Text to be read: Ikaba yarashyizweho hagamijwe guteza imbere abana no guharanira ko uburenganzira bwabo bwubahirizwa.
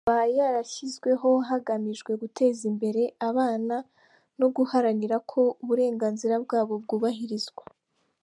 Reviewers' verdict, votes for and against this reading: rejected, 1, 2